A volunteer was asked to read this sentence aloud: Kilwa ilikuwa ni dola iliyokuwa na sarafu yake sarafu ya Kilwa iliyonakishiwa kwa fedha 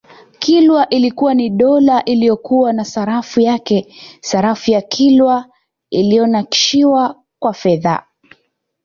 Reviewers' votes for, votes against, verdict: 2, 0, accepted